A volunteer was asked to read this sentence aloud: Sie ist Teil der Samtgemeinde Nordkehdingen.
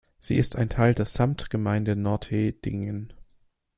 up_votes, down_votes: 0, 2